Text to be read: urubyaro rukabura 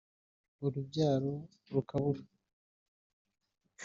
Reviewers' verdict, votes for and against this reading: accepted, 2, 0